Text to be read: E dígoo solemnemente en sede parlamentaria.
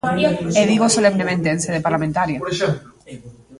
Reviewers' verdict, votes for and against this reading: rejected, 1, 2